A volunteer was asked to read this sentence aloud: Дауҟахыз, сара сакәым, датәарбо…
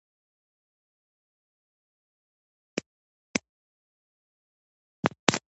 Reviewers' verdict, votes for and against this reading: rejected, 0, 2